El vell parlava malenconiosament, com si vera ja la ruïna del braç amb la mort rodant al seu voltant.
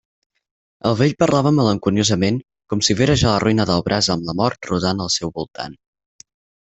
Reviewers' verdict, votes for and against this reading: accepted, 4, 0